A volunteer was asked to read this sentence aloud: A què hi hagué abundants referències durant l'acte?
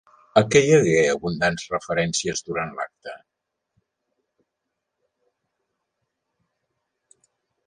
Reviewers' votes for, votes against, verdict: 2, 0, accepted